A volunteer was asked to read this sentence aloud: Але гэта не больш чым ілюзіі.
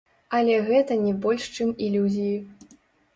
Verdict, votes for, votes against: rejected, 0, 2